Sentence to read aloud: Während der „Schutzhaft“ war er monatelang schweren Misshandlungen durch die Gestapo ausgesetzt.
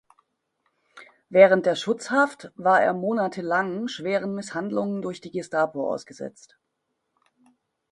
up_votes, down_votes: 2, 0